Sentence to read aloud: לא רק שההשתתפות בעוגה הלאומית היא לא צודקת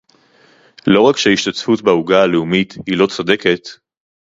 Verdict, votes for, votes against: accepted, 4, 0